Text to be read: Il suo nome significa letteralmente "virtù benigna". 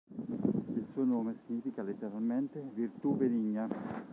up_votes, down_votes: 1, 2